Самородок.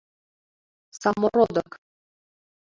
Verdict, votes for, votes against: accepted, 3, 0